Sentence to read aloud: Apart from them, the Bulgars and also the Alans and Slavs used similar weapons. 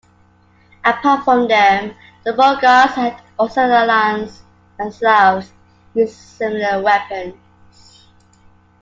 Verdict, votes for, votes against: accepted, 2, 1